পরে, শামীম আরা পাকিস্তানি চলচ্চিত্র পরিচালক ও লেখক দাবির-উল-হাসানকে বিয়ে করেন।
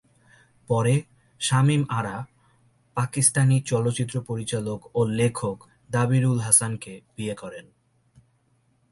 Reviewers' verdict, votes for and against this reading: accepted, 2, 0